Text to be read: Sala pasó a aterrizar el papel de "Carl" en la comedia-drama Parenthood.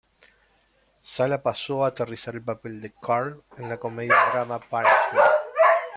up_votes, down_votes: 1, 2